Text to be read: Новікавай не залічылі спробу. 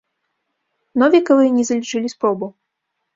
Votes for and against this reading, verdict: 2, 0, accepted